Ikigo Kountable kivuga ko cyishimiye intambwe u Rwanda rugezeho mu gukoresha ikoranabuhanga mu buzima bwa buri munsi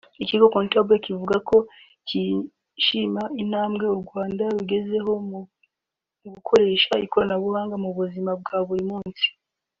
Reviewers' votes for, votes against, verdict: 1, 2, rejected